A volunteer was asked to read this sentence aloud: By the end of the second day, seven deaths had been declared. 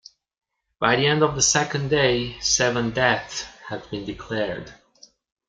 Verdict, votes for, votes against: accepted, 2, 0